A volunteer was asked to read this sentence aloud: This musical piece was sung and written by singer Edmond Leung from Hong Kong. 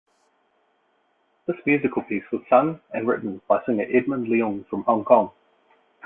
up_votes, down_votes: 2, 0